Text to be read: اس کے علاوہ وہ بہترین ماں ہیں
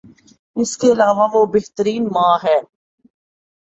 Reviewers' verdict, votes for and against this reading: accepted, 4, 1